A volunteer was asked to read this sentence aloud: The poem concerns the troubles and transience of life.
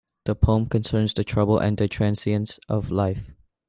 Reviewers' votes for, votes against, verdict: 3, 1, accepted